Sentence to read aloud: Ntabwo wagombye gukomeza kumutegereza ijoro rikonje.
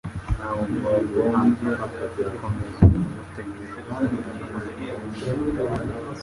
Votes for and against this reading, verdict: 1, 2, rejected